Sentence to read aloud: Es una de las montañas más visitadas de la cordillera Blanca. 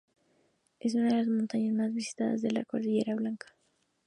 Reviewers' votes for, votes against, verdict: 0, 2, rejected